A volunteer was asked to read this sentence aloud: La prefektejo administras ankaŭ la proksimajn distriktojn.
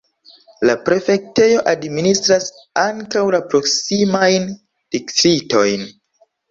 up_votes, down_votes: 2, 0